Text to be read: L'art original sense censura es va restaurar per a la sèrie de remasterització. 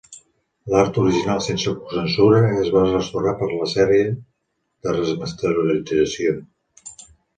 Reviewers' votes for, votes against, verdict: 1, 2, rejected